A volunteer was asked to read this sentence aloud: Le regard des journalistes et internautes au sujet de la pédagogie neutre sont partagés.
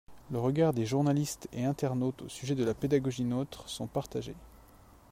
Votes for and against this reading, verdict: 1, 2, rejected